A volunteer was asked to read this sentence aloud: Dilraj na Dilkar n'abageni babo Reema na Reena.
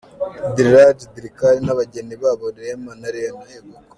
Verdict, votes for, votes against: rejected, 0, 2